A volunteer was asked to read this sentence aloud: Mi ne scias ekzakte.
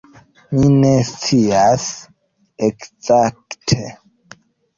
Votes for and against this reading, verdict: 2, 0, accepted